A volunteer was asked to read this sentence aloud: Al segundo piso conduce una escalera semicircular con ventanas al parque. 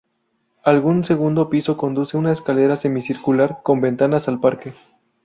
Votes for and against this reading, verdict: 0, 2, rejected